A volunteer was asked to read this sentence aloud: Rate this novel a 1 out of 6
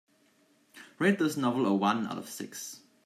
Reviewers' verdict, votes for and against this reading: rejected, 0, 2